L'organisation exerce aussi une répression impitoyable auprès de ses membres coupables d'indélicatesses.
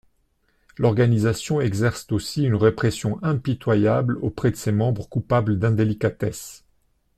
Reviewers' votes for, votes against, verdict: 1, 2, rejected